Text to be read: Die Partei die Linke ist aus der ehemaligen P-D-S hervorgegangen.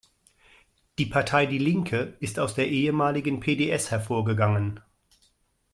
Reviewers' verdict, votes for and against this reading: rejected, 0, 2